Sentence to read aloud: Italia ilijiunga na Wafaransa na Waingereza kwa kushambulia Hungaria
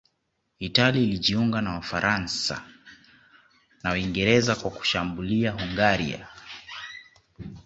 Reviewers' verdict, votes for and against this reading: rejected, 0, 2